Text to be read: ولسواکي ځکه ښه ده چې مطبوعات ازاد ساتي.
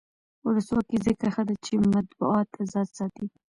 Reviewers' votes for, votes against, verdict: 1, 2, rejected